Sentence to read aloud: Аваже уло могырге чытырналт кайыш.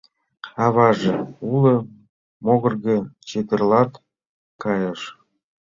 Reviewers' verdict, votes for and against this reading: accepted, 2, 1